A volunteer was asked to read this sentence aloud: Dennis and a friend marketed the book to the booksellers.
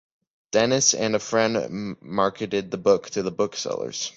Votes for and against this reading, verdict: 3, 0, accepted